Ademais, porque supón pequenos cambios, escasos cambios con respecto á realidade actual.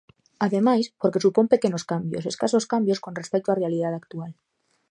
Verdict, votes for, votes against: accepted, 2, 0